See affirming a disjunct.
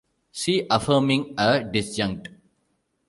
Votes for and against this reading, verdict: 2, 1, accepted